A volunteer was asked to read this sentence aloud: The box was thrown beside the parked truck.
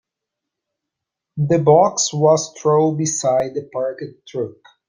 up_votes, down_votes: 2, 0